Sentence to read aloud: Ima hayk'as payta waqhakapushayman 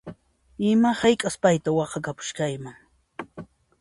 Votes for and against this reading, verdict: 2, 1, accepted